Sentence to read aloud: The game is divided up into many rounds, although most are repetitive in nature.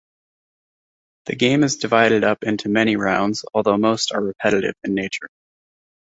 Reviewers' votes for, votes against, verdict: 2, 0, accepted